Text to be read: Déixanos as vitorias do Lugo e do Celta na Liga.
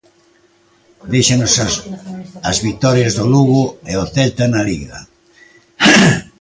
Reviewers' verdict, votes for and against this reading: rejected, 0, 2